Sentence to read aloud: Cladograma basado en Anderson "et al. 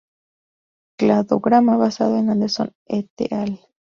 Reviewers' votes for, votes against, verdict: 0, 2, rejected